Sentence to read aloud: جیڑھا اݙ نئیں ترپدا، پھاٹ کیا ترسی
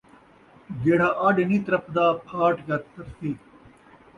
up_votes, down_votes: 2, 0